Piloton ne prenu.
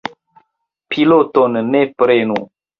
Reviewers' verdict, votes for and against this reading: accepted, 2, 0